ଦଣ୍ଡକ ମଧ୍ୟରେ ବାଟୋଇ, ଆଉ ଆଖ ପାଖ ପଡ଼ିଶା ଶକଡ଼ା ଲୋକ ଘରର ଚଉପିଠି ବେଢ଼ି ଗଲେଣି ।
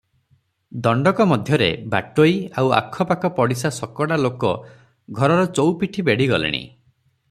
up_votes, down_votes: 6, 0